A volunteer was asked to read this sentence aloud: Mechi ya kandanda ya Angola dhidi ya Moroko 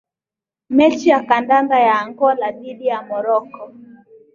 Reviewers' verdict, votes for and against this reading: accepted, 2, 0